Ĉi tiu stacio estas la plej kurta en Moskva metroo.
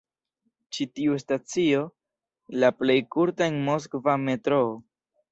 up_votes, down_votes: 1, 2